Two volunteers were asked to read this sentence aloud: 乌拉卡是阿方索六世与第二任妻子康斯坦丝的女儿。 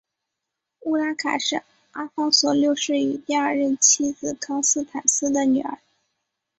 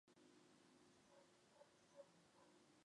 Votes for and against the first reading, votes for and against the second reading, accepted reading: 3, 0, 0, 2, first